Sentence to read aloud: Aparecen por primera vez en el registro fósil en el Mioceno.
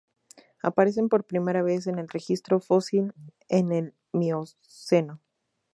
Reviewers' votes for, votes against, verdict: 0, 2, rejected